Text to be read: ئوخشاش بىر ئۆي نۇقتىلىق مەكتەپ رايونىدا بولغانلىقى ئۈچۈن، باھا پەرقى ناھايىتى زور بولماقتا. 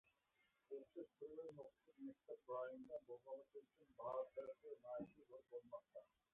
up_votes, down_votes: 0, 2